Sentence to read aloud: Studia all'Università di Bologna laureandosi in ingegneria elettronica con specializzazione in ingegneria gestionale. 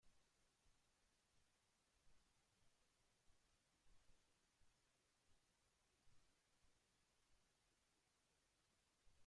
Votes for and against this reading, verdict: 0, 2, rejected